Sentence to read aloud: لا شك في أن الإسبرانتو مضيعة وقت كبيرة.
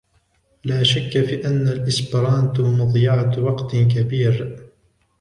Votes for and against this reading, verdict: 1, 2, rejected